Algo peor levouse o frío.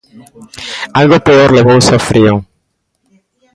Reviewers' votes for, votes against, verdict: 1, 2, rejected